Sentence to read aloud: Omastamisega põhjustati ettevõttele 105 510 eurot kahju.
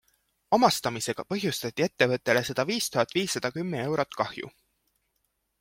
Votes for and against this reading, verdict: 0, 2, rejected